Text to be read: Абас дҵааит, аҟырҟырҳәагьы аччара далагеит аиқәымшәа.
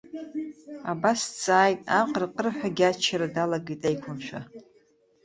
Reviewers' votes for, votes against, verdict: 1, 2, rejected